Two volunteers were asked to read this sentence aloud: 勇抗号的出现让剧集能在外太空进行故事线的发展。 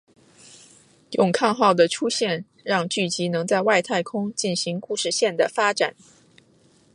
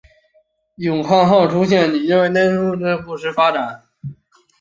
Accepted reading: first